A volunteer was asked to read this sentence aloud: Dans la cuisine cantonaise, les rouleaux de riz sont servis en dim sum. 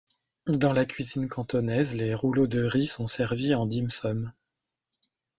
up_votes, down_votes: 1, 2